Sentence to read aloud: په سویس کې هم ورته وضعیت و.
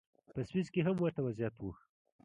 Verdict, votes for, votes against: rejected, 0, 2